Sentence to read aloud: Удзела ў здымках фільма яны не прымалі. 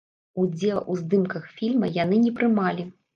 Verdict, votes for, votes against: rejected, 1, 3